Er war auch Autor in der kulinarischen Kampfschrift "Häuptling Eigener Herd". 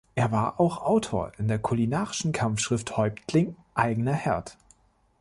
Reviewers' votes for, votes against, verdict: 2, 0, accepted